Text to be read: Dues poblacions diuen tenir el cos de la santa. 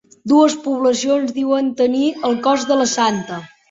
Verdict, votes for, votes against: accepted, 2, 0